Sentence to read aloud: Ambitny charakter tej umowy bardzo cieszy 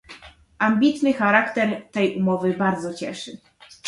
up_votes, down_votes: 2, 1